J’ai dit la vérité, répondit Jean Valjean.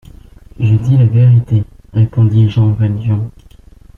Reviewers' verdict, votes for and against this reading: rejected, 1, 2